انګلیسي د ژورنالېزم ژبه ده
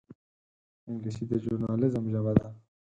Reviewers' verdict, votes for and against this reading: rejected, 2, 4